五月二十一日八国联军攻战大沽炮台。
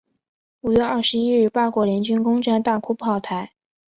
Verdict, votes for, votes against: accepted, 2, 0